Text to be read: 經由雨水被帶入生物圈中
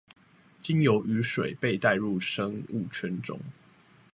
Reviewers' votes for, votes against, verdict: 2, 0, accepted